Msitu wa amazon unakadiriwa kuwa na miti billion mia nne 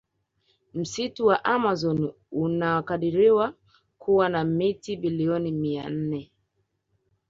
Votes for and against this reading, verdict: 1, 2, rejected